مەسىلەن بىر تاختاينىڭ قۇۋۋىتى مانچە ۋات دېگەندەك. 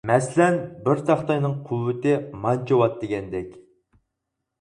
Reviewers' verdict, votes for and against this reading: accepted, 4, 0